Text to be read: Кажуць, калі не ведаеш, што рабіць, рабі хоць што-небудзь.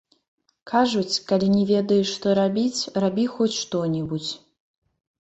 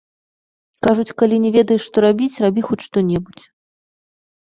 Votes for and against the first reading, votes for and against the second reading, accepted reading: 1, 2, 2, 0, second